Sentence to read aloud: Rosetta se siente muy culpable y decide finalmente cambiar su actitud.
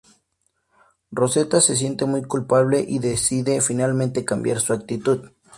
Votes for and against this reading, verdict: 2, 0, accepted